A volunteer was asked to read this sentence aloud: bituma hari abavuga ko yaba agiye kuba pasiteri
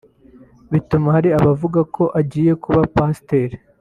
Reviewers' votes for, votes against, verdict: 0, 2, rejected